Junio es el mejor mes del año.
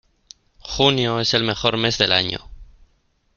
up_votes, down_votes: 2, 0